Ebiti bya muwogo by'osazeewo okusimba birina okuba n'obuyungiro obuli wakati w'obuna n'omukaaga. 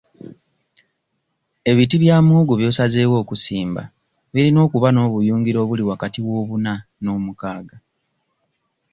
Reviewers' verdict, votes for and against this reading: accepted, 2, 0